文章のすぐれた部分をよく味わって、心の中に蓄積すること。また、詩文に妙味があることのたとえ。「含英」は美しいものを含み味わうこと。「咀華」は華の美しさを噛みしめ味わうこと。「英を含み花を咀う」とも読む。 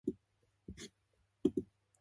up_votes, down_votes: 0, 2